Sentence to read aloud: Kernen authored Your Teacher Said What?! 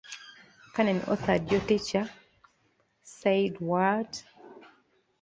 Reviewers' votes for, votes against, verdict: 2, 1, accepted